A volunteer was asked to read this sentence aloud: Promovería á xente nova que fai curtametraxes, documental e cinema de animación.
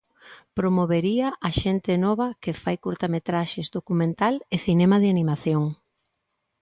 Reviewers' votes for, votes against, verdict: 2, 0, accepted